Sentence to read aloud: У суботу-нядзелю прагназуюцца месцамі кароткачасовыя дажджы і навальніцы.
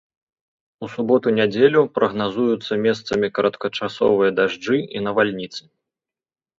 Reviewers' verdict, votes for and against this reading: accepted, 2, 0